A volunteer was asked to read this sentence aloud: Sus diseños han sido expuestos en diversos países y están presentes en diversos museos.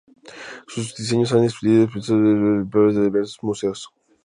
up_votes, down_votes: 0, 2